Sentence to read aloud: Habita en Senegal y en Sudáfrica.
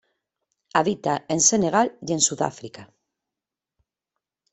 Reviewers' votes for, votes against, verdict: 2, 1, accepted